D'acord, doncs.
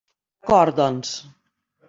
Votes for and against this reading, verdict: 1, 2, rejected